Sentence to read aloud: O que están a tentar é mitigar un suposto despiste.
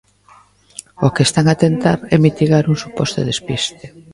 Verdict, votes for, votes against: accepted, 2, 0